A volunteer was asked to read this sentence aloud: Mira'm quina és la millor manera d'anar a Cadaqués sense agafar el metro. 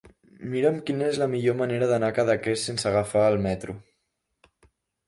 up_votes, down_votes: 3, 0